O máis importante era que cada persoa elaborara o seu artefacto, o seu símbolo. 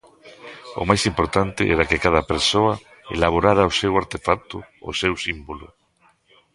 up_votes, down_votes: 0, 2